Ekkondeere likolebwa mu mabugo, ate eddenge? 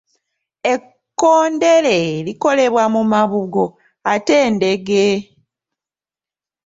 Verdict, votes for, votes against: rejected, 1, 2